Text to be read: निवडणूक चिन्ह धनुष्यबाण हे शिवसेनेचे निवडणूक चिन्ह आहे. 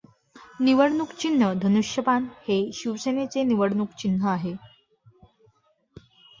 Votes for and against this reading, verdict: 1, 2, rejected